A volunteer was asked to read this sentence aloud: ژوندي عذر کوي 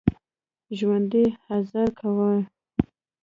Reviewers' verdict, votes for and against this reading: rejected, 1, 2